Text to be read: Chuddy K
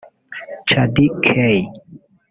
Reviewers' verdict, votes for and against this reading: rejected, 1, 2